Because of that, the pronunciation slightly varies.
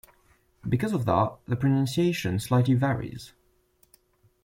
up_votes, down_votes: 2, 0